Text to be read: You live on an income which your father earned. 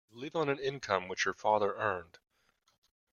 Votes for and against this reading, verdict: 1, 2, rejected